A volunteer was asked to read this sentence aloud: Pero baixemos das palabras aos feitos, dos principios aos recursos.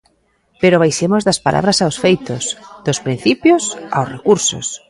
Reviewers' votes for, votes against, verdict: 1, 2, rejected